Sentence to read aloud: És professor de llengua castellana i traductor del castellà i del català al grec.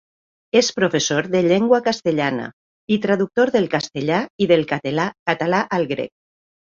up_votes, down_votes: 0, 2